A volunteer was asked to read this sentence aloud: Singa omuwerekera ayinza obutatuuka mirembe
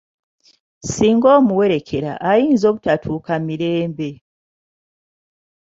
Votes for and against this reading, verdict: 2, 0, accepted